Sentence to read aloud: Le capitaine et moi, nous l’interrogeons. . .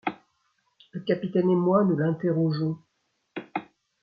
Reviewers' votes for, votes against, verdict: 2, 0, accepted